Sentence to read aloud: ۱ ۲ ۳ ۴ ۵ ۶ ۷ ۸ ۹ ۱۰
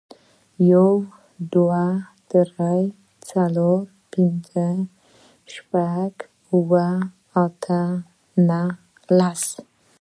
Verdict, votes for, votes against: rejected, 0, 2